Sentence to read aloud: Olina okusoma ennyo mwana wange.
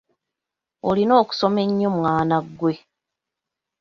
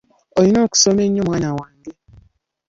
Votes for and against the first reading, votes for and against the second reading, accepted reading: 0, 2, 2, 0, second